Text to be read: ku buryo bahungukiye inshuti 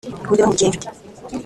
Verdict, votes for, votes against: rejected, 0, 2